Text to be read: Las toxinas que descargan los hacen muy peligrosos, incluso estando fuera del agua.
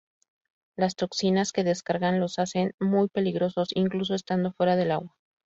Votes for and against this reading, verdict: 2, 0, accepted